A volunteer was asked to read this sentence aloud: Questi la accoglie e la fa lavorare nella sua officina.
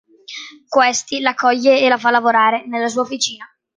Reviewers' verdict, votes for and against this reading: accepted, 2, 0